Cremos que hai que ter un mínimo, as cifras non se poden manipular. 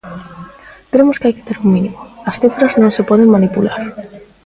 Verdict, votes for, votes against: accepted, 2, 1